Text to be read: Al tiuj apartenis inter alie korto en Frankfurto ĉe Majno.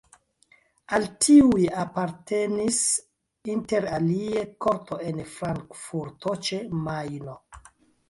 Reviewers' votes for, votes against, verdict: 0, 2, rejected